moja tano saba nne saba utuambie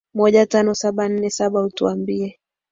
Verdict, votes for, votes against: accepted, 13, 0